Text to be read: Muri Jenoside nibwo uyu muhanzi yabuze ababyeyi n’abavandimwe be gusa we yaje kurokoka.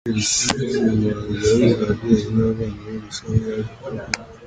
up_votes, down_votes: 0, 4